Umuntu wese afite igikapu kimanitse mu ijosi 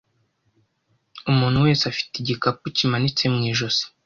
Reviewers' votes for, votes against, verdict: 2, 0, accepted